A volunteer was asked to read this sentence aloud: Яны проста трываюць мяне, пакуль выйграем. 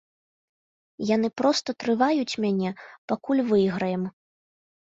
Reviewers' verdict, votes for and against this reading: accepted, 2, 1